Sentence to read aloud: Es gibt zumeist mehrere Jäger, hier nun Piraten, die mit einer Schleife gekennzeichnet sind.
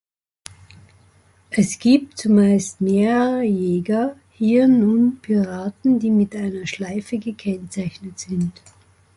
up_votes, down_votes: 2, 0